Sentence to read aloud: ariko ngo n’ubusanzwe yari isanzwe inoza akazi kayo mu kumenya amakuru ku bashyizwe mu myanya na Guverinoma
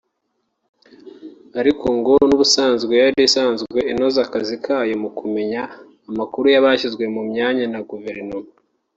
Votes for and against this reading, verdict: 1, 2, rejected